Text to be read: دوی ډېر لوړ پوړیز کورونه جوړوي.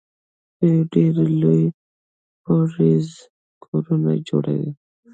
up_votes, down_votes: 0, 2